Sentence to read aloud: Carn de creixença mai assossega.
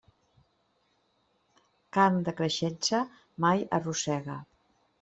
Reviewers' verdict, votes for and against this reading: rejected, 0, 2